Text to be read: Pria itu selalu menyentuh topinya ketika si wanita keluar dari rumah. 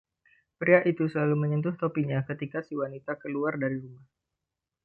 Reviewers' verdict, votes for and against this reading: rejected, 0, 2